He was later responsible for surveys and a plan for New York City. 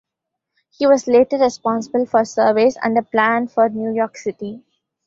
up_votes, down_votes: 2, 0